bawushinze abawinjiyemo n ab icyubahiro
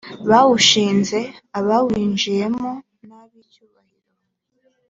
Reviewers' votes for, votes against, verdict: 2, 0, accepted